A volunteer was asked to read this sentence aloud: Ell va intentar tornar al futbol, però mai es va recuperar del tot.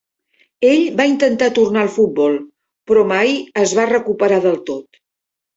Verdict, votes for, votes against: rejected, 1, 2